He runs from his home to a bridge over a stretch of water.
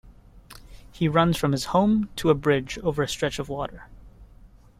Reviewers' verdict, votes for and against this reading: accepted, 2, 0